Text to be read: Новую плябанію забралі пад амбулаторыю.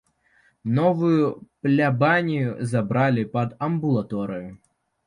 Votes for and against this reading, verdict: 2, 0, accepted